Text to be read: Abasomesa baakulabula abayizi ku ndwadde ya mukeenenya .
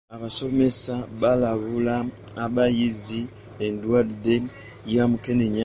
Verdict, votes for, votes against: rejected, 0, 2